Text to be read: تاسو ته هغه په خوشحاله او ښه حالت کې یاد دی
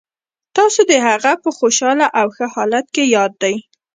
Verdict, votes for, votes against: rejected, 1, 2